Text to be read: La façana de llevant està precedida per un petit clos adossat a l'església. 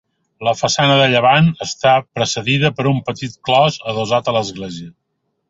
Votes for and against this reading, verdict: 2, 0, accepted